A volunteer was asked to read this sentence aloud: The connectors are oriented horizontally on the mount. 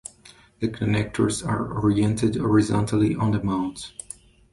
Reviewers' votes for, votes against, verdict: 2, 0, accepted